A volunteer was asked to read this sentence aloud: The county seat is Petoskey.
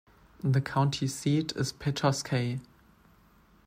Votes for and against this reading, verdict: 1, 2, rejected